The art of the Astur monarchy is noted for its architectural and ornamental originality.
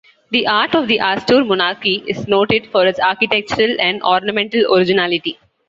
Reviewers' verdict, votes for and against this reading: accepted, 2, 0